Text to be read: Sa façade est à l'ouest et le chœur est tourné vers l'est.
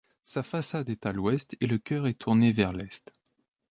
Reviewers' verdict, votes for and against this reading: accepted, 2, 0